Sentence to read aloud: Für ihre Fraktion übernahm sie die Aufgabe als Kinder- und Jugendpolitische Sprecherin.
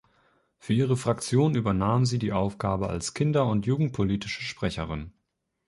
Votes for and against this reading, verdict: 2, 0, accepted